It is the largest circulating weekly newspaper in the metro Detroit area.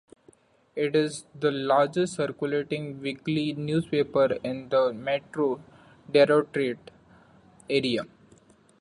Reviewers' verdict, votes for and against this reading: rejected, 1, 2